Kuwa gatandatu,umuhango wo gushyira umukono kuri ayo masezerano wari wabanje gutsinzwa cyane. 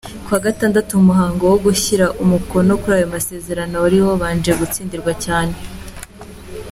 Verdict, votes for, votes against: accepted, 3, 0